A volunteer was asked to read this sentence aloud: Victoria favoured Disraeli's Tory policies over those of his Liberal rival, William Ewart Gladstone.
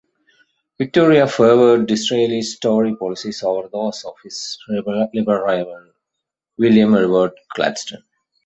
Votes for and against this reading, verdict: 1, 2, rejected